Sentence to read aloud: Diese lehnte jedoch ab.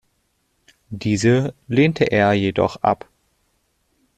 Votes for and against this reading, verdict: 0, 2, rejected